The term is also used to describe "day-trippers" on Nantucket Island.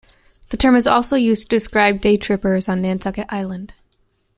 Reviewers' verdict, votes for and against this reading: accepted, 2, 0